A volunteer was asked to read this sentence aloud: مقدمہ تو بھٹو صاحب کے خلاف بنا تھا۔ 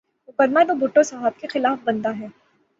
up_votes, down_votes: 0, 6